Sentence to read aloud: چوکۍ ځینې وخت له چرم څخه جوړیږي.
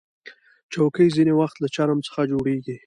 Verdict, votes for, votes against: accepted, 2, 1